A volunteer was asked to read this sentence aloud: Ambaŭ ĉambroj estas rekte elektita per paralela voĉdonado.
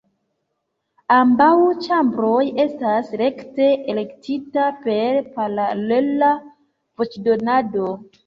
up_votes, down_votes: 2, 0